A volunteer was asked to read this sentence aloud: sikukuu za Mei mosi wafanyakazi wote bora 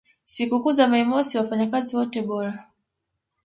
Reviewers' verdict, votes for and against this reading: accepted, 2, 0